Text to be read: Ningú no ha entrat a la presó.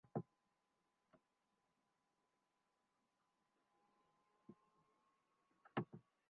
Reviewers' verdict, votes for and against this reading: rejected, 0, 2